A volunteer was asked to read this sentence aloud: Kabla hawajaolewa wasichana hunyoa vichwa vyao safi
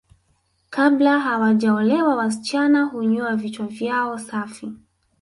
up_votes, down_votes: 0, 2